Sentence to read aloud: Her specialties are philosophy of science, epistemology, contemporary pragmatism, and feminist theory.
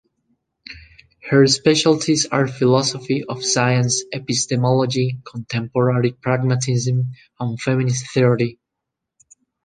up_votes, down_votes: 2, 0